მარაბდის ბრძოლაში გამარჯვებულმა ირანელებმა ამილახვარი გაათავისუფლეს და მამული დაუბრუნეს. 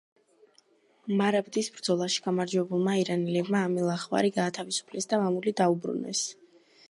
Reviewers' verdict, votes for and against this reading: rejected, 1, 2